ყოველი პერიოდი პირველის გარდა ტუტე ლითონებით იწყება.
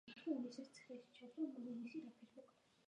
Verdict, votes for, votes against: rejected, 1, 2